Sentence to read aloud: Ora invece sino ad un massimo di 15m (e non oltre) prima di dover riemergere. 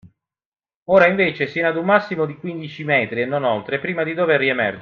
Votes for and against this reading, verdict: 0, 2, rejected